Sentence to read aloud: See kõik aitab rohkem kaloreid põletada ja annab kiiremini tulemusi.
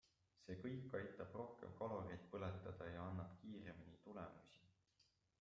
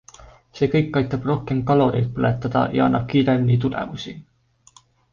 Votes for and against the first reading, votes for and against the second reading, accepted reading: 0, 2, 2, 0, second